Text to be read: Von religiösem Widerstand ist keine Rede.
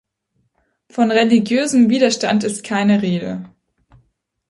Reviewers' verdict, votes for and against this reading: accepted, 2, 0